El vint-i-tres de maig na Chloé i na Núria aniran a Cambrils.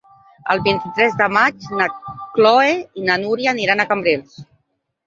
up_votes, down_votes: 1, 2